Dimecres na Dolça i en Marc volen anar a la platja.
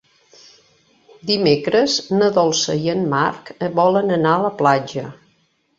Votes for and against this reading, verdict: 3, 0, accepted